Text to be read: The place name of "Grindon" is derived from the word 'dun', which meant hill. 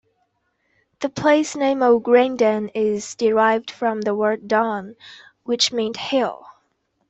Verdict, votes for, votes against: accepted, 2, 0